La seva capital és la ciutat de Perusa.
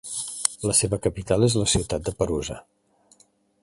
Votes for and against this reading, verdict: 2, 0, accepted